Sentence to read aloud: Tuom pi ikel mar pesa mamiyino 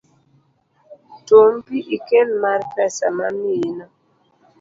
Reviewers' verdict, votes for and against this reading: accepted, 2, 0